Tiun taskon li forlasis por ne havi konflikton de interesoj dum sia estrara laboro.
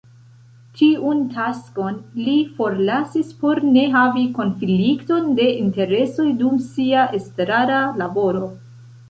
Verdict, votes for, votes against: rejected, 1, 2